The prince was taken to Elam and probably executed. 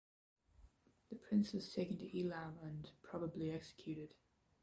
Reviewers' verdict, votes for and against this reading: rejected, 0, 2